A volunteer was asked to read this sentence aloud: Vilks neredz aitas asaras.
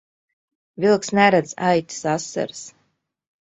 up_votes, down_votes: 2, 0